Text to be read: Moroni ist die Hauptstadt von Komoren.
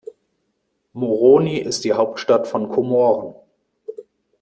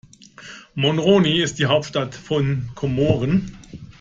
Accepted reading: first